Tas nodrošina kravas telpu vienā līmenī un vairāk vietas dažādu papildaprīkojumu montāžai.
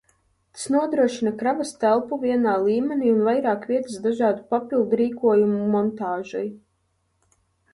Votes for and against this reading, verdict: 0, 2, rejected